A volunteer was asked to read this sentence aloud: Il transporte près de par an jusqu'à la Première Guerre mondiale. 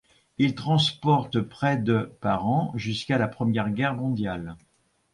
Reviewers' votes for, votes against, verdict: 2, 0, accepted